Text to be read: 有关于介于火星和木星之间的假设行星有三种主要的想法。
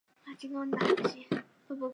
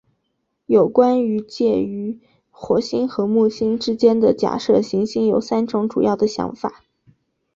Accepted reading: second